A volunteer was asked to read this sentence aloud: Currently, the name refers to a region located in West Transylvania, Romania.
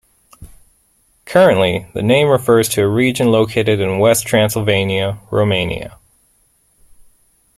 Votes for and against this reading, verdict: 2, 0, accepted